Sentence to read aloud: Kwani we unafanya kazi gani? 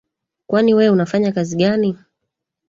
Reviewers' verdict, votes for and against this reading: accepted, 3, 1